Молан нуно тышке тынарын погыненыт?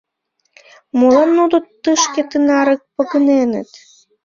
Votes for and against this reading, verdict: 1, 2, rejected